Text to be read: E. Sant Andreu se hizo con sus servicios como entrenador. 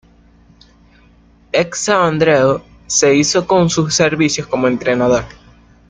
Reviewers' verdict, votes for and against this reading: rejected, 0, 2